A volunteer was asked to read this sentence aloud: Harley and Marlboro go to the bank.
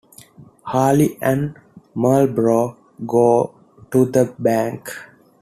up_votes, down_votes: 2, 0